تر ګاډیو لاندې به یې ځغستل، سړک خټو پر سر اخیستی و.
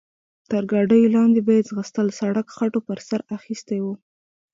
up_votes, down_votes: 2, 0